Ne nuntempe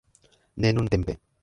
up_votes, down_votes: 1, 3